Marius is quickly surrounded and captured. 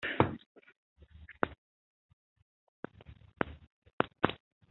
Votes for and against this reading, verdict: 0, 2, rejected